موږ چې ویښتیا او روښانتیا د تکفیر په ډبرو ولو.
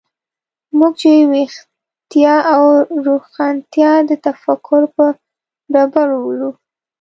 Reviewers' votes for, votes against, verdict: 1, 2, rejected